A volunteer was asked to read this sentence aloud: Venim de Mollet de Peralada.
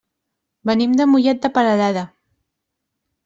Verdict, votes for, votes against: rejected, 2, 3